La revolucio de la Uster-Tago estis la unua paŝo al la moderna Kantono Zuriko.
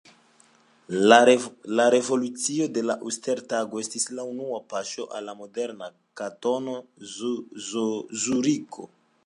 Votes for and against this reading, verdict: 2, 0, accepted